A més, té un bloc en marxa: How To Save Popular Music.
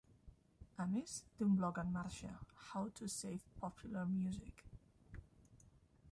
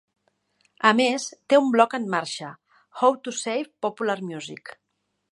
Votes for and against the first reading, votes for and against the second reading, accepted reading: 0, 2, 3, 0, second